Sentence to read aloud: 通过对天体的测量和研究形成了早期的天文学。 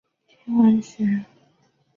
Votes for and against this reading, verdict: 0, 2, rejected